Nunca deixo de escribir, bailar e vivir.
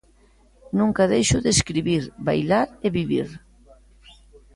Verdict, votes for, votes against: accepted, 2, 0